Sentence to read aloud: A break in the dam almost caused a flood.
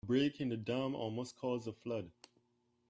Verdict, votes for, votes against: rejected, 0, 2